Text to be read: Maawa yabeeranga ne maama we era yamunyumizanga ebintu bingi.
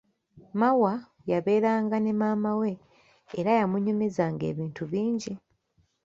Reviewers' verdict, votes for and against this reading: rejected, 1, 2